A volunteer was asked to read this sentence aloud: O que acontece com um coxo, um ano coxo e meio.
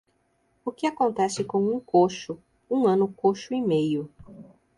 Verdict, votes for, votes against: accepted, 2, 0